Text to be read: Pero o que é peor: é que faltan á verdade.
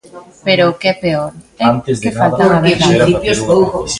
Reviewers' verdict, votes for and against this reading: rejected, 0, 2